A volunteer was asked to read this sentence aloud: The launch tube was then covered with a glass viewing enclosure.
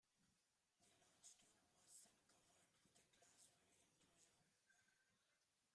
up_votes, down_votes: 0, 2